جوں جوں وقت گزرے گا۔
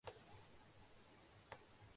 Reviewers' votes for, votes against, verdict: 1, 6, rejected